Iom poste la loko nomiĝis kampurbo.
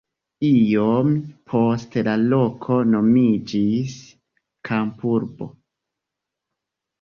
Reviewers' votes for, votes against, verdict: 3, 1, accepted